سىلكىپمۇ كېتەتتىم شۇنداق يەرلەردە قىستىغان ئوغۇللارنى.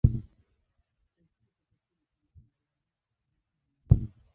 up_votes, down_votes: 0, 2